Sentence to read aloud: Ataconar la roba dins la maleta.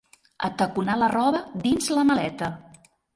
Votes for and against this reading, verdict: 2, 0, accepted